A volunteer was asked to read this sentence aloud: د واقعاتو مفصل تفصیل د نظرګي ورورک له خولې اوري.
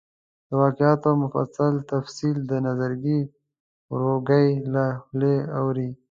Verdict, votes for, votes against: rejected, 1, 2